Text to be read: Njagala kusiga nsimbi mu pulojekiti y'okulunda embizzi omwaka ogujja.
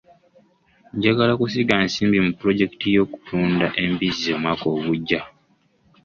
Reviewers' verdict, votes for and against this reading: accepted, 2, 0